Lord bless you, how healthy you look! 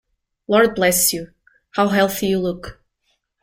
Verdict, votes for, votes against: accepted, 2, 0